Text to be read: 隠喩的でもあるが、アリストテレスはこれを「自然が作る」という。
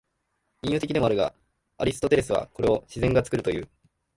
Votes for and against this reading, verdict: 2, 2, rejected